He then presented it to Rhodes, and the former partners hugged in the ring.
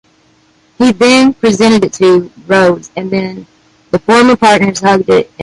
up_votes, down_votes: 0, 2